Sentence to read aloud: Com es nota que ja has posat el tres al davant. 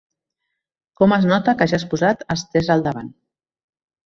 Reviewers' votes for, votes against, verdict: 0, 2, rejected